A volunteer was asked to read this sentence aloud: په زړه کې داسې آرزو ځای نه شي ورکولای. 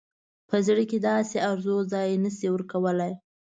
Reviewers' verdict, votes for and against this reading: accepted, 2, 0